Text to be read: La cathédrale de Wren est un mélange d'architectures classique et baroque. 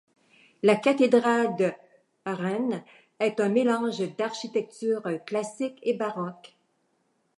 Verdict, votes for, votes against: rejected, 0, 2